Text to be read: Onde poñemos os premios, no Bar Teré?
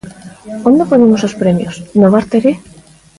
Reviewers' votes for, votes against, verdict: 0, 2, rejected